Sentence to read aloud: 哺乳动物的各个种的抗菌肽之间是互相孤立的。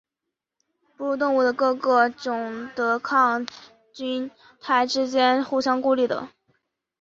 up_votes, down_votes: 3, 0